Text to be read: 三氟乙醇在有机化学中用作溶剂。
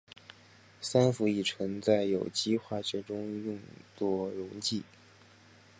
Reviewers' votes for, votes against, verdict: 3, 0, accepted